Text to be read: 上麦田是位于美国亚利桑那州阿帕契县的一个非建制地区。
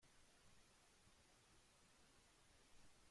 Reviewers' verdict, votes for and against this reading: rejected, 0, 2